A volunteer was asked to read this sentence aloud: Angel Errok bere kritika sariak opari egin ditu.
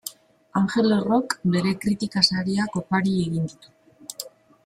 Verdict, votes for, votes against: accepted, 2, 0